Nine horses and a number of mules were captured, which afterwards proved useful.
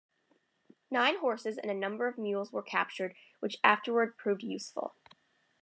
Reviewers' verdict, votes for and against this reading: accepted, 2, 1